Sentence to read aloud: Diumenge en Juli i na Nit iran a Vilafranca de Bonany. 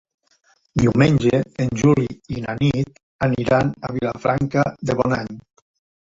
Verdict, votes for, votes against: rejected, 1, 2